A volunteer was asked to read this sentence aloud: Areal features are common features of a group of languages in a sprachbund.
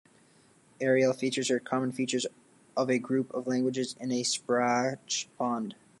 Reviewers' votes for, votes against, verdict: 0, 2, rejected